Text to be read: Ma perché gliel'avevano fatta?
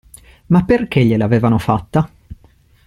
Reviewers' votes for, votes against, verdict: 2, 0, accepted